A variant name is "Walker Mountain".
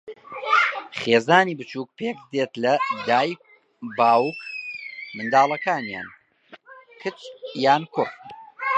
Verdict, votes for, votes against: rejected, 0, 2